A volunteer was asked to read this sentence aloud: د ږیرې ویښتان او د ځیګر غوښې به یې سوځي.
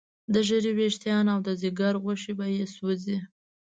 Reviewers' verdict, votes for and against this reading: accepted, 3, 0